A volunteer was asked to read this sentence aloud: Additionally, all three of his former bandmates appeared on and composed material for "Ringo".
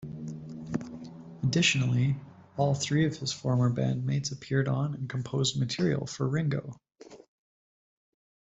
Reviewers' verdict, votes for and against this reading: accepted, 2, 0